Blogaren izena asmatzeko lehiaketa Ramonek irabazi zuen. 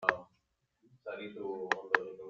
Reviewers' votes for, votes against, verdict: 0, 2, rejected